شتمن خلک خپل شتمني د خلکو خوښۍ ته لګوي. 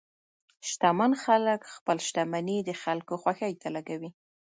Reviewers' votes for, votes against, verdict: 1, 2, rejected